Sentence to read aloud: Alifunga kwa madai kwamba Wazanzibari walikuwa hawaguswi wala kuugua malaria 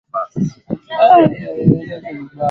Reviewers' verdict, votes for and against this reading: rejected, 3, 4